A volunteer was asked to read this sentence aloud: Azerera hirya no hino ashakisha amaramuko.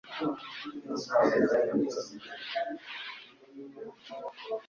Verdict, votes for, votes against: rejected, 1, 2